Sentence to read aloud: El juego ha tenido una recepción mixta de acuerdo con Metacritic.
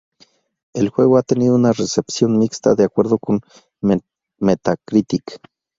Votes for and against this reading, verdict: 0, 2, rejected